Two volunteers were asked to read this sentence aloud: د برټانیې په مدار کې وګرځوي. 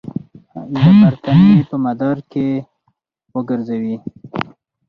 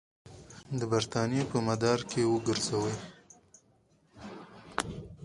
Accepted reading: second